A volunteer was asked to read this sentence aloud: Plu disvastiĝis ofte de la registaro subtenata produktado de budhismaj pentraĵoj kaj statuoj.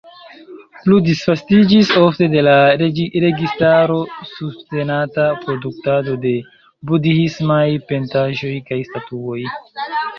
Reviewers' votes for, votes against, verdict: 1, 2, rejected